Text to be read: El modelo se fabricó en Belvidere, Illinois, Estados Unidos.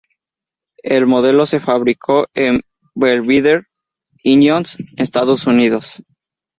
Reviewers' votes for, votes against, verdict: 2, 0, accepted